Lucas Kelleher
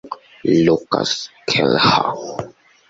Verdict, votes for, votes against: rejected, 1, 2